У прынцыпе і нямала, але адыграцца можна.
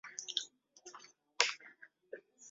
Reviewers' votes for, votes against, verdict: 0, 2, rejected